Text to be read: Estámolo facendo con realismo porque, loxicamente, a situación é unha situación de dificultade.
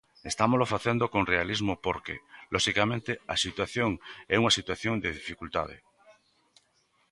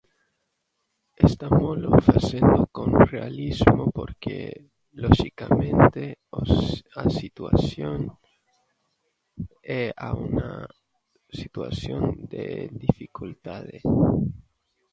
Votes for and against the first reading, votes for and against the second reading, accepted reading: 2, 0, 0, 3, first